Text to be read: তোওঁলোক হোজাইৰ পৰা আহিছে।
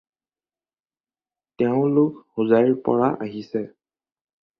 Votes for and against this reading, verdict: 2, 4, rejected